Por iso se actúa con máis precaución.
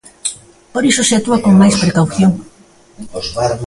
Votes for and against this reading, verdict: 1, 2, rejected